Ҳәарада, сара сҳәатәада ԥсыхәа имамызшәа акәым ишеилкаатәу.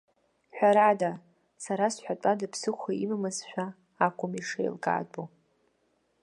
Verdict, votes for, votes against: rejected, 1, 2